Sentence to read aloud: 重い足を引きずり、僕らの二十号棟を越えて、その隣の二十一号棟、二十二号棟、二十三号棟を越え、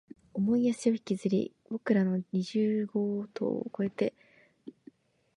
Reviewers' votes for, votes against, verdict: 0, 3, rejected